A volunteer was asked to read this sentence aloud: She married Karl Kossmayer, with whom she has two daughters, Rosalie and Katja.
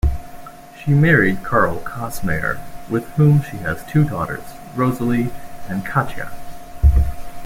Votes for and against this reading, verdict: 2, 0, accepted